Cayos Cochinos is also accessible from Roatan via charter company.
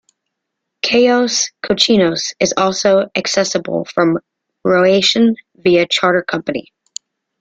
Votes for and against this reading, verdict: 0, 2, rejected